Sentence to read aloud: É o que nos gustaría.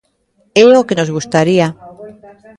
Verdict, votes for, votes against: rejected, 0, 2